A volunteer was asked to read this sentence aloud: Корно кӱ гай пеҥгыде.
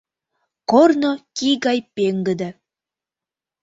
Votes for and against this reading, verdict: 0, 2, rejected